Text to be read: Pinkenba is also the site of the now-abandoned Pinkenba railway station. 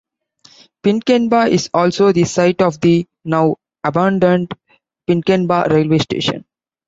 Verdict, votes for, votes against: accepted, 2, 0